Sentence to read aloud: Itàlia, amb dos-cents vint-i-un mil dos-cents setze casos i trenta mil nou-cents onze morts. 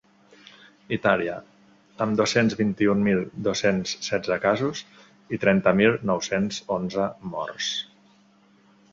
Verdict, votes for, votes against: accepted, 2, 0